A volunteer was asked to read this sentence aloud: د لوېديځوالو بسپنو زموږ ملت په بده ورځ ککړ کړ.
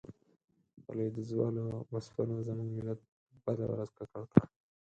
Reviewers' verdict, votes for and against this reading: rejected, 2, 4